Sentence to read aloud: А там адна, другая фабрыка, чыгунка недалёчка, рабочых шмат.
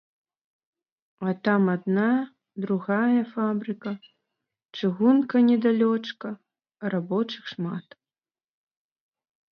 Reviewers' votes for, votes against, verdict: 2, 0, accepted